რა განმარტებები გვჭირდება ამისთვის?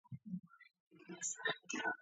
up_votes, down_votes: 0, 2